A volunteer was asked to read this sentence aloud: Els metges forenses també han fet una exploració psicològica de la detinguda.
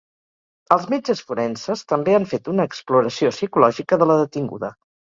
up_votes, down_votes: 4, 0